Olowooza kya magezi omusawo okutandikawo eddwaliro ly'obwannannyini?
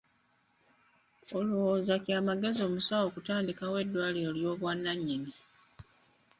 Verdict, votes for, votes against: rejected, 1, 2